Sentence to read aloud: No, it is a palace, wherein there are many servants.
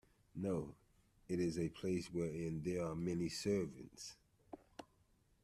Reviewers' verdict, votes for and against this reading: rejected, 0, 2